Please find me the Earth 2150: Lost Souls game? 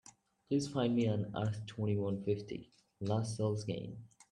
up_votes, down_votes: 0, 2